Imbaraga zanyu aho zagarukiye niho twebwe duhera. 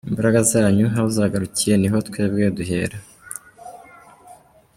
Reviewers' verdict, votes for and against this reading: accepted, 2, 0